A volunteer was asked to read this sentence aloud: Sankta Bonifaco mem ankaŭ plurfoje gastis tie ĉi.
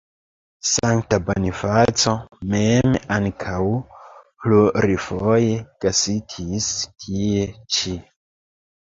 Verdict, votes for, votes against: rejected, 1, 2